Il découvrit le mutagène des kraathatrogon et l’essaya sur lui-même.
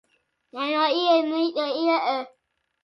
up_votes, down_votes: 0, 2